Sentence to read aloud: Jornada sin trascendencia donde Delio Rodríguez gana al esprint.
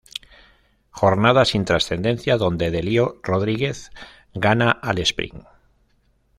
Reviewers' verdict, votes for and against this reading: rejected, 1, 2